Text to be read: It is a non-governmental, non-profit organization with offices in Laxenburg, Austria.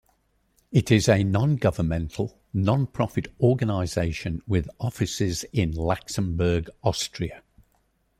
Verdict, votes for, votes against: accepted, 2, 1